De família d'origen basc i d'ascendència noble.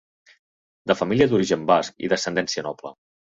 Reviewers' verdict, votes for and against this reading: accepted, 3, 0